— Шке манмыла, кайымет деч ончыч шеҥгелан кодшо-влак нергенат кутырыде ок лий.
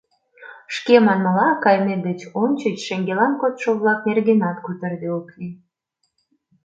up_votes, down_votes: 2, 0